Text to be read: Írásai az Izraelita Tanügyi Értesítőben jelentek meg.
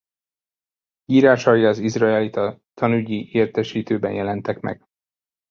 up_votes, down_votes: 2, 0